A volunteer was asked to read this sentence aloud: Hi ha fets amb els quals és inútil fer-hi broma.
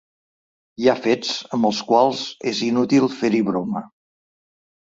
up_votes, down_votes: 3, 0